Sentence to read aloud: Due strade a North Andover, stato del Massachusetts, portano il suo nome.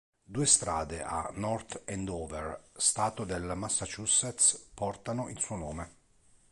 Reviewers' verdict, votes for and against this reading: accepted, 2, 0